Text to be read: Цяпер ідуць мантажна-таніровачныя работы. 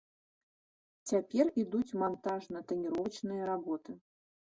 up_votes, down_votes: 2, 0